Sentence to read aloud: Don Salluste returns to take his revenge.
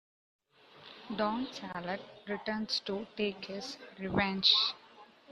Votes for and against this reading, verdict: 1, 2, rejected